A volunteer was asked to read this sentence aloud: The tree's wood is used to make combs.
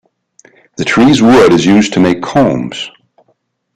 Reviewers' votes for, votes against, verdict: 2, 0, accepted